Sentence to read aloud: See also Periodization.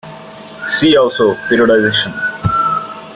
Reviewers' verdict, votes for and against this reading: rejected, 1, 2